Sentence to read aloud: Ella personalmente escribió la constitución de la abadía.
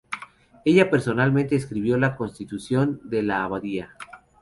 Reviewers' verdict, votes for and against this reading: rejected, 2, 2